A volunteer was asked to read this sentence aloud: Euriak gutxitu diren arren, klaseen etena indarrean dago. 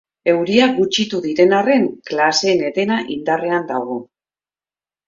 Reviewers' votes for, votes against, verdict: 1, 2, rejected